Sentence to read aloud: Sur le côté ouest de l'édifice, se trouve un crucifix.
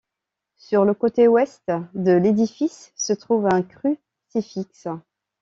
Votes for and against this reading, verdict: 0, 2, rejected